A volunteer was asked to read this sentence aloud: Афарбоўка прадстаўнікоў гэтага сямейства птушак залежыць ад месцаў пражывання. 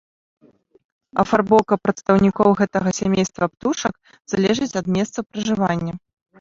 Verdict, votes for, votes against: accepted, 2, 0